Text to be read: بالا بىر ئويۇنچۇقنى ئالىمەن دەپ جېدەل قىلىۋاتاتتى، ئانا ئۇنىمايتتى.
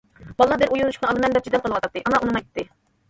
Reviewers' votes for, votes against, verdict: 1, 2, rejected